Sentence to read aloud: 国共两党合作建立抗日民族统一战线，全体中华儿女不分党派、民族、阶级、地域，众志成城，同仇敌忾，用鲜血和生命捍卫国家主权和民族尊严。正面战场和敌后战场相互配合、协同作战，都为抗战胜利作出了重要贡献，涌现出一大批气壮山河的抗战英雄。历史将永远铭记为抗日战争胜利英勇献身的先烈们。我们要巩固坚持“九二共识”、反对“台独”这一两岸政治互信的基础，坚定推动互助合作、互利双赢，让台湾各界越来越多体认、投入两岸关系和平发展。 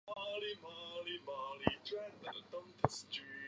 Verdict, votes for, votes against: rejected, 0, 4